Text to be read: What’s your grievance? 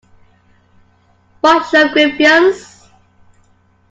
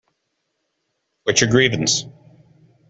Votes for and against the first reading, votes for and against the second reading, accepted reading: 0, 2, 2, 0, second